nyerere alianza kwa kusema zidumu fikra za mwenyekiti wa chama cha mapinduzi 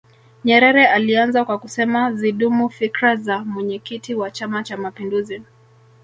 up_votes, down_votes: 1, 2